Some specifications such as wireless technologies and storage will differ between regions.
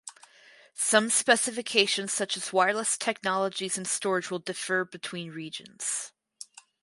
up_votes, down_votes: 2, 0